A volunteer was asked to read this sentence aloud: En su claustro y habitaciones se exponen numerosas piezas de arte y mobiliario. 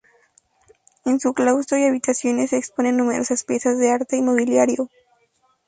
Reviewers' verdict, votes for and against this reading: rejected, 2, 2